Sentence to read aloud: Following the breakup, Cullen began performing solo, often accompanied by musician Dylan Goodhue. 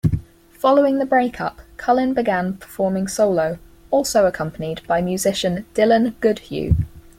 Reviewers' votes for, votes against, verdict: 2, 4, rejected